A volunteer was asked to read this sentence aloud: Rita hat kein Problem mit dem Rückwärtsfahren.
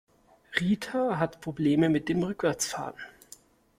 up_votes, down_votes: 0, 2